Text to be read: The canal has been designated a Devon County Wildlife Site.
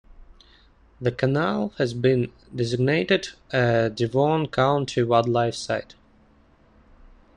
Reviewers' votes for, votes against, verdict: 2, 0, accepted